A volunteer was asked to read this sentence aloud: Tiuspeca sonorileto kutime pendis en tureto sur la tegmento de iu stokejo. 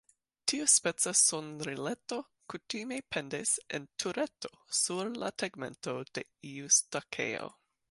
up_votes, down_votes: 1, 2